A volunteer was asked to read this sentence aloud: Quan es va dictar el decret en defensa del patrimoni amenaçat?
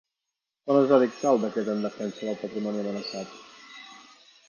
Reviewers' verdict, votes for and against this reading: rejected, 1, 2